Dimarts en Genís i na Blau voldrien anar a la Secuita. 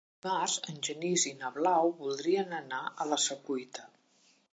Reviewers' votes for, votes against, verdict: 1, 2, rejected